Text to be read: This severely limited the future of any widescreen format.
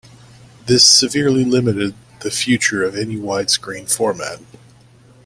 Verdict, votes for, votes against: accepted, 2, 0